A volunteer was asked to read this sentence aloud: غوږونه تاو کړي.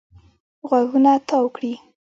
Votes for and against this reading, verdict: 0, 2, rejected